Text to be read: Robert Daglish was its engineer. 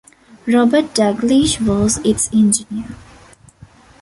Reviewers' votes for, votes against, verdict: 2, 0, accepted